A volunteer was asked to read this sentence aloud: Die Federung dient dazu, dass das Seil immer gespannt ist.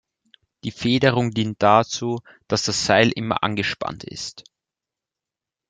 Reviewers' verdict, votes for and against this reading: rejected, 1, 3